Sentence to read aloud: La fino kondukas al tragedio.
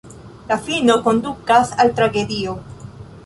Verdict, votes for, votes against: accepted, 2, 0